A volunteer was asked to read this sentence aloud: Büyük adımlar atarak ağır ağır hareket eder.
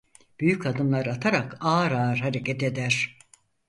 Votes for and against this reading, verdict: 4, 0, accepted